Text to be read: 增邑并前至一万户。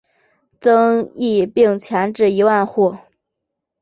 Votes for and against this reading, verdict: 3, 0, accepted